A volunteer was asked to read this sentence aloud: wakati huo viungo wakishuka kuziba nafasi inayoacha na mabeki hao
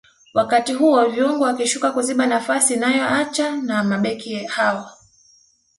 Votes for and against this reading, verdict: 2, 0, accepted